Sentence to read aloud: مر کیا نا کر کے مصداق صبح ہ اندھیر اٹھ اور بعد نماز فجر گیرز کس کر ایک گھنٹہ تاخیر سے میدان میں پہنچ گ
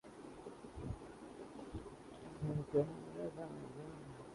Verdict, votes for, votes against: rejected, 0, 2